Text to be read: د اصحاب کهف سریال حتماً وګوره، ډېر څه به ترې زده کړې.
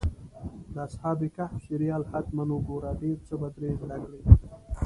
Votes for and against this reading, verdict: 2, 0, accepted